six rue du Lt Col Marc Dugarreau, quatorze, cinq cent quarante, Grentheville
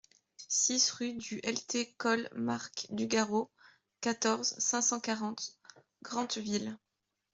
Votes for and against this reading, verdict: 0, 2, rejected